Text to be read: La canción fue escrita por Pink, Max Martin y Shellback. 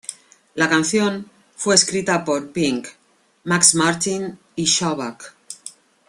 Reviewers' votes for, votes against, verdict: 2, 0, accepted